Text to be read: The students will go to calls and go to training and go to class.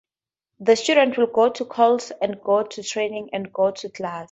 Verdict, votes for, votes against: accepted, 2, 0